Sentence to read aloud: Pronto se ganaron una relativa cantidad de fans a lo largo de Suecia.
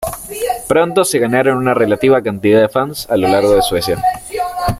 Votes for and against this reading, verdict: 1, 2, rejected